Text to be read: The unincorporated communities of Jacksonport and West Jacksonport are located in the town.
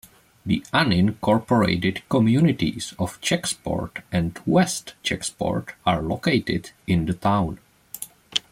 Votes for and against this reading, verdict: 0, 2, rejected